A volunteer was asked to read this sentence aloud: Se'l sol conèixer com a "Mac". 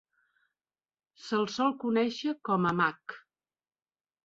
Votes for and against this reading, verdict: 2, 0, accepted